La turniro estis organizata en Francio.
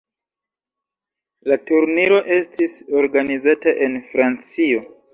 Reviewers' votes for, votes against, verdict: 3, 1, accepted